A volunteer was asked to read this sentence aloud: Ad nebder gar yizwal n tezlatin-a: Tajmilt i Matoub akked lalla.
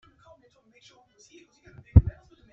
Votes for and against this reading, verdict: 0, 2, rejected